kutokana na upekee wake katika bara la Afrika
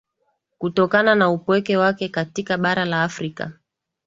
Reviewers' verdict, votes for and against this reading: rejected, 0, 2